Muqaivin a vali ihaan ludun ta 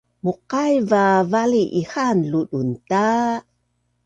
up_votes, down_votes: 2, 0